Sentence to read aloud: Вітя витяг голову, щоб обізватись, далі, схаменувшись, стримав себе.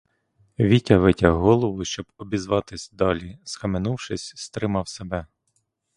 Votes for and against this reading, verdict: 2, 0, accepted